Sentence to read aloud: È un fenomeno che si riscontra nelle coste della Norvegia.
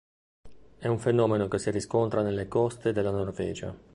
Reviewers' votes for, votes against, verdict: 2, 1, accepted